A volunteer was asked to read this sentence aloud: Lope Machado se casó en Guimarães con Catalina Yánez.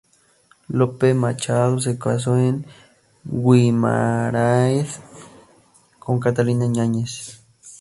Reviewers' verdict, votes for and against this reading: rejected, 0, 2